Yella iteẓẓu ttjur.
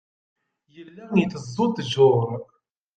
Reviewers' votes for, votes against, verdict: 0, 2, rejected